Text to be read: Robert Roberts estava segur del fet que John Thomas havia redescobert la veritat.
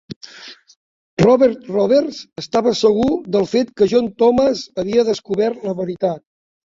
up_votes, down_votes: 0, 2